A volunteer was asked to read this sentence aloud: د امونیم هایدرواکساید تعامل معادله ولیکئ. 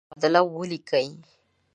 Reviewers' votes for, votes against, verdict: 0, 2, rejected